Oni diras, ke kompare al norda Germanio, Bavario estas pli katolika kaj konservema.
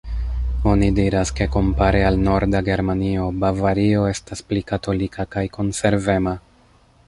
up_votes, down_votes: 2, 0